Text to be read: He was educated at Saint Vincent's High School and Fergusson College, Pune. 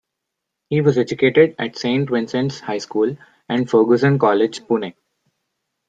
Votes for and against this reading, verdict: 0, 2, rejected